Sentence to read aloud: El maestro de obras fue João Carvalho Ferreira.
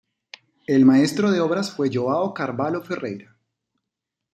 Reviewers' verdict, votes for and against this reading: accepted, 2, 0